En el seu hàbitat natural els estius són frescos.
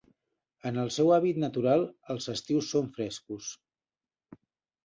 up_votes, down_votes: 0, 2